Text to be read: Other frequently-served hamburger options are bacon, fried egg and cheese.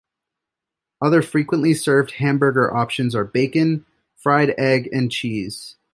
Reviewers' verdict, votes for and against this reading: accepted, 2, 0